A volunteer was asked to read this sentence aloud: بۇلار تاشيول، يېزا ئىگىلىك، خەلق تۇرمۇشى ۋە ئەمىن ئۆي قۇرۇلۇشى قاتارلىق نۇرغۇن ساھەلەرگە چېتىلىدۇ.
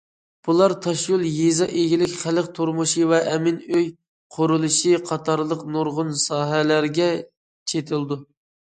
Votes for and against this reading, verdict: 2, 0, accepted